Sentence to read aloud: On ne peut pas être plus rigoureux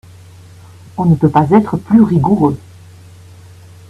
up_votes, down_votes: 1, 2